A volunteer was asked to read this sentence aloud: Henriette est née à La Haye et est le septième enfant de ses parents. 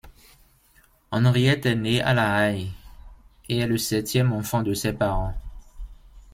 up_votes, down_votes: 1, 2